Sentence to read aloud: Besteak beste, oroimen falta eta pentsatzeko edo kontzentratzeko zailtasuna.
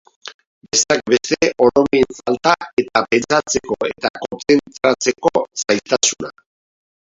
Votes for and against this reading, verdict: 0, 2, rejected